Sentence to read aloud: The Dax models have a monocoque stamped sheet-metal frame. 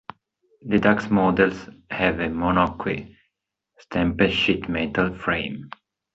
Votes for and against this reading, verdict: 1, 2, rejected